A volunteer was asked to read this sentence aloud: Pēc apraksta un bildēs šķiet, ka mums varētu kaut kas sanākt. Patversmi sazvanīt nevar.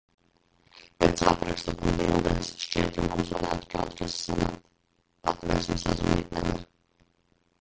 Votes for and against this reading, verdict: 0, 2, rejected